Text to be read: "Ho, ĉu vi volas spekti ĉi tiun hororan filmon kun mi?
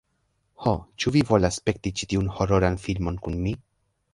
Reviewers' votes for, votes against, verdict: 0, 2, rejected